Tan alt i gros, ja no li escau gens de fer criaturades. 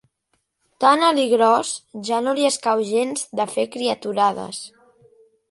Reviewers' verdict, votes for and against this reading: accepted, 2, 0